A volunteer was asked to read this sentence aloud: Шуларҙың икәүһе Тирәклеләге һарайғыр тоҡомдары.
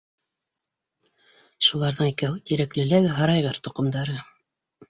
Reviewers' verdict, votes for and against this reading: accepted, 2, 0